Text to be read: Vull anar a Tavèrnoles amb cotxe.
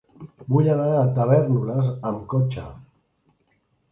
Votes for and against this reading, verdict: 2, 0, accepted